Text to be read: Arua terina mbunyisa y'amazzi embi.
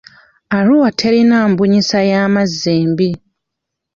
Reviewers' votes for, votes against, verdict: 1, 2, rejected